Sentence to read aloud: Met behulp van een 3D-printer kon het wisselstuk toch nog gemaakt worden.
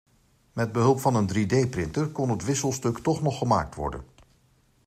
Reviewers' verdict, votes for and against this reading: rejected, 0, 2